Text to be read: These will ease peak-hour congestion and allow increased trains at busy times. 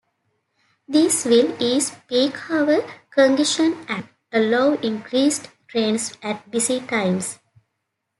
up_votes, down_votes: 2, 0